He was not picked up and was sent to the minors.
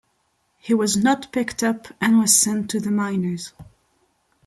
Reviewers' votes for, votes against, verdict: 2, 0, accepted